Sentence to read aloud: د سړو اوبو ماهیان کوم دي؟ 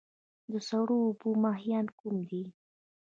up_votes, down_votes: 2, 0